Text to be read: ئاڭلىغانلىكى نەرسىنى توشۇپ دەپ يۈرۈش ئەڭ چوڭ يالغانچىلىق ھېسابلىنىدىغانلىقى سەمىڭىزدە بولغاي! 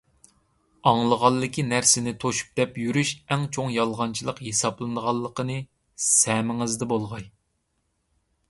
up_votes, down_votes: 0, 2